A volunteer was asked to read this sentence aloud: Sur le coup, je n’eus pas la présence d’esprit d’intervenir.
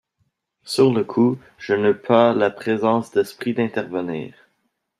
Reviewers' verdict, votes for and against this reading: rejected, 0, 2